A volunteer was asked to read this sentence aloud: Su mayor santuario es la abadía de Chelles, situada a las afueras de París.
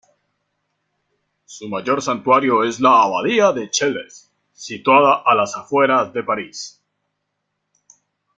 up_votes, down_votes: 1, 2